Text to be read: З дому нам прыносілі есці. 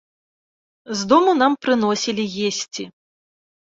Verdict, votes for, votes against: accepted, 2, 0